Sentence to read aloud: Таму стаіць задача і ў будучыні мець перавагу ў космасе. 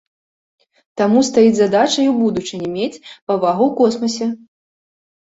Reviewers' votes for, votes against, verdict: 1, 3, rejected